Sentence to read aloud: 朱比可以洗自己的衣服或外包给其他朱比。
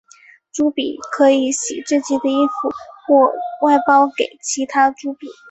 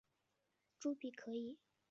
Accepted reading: first